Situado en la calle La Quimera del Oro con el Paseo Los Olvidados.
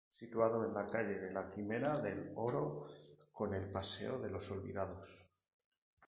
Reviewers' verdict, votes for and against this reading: rejected, 0, 4